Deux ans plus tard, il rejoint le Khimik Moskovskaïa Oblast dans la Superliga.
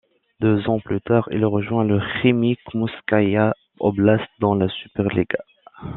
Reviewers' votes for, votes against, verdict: 1, 2, rejected